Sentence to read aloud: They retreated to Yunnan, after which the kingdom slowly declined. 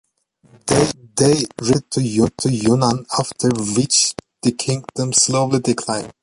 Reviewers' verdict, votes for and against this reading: rejected, 0, 2